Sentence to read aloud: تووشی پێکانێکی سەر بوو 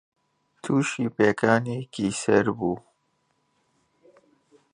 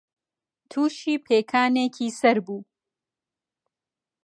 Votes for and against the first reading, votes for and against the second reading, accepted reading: 0, 2, 3, 0, second